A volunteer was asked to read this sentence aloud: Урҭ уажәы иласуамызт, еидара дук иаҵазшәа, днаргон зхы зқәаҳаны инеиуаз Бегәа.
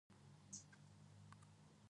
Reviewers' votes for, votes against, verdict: 0, 2, rejected